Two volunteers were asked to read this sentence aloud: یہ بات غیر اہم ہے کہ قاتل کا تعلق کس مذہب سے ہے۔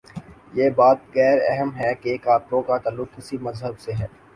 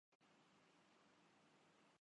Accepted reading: first